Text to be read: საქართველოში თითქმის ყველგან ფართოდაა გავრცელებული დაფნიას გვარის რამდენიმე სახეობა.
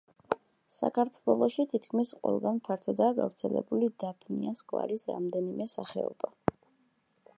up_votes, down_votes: 2, 0